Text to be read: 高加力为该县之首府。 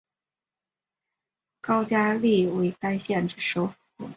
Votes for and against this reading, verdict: 2, 0, accepted